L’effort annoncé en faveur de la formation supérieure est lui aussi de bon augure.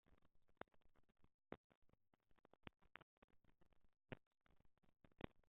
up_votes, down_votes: 0, 2